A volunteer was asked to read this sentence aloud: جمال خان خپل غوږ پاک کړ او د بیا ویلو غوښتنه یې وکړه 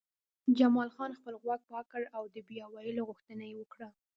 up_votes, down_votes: 2, 1